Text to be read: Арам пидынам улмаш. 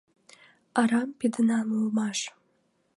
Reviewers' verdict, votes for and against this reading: accepted, 2, 0